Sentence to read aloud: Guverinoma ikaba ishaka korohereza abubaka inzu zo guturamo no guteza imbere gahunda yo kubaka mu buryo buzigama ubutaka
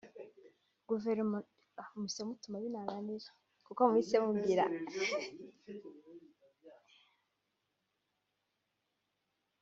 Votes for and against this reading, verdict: 0, 2, rejected